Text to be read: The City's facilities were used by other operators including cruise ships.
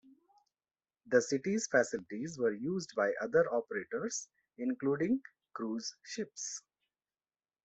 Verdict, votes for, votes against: accepted, 2, 0